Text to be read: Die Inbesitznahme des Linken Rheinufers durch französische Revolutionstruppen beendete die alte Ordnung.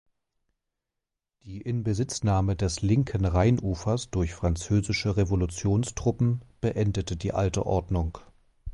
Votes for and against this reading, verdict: 2, 0, accepted